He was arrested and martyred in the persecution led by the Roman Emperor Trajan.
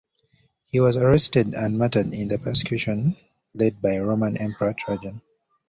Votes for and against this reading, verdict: 2, 0, accepted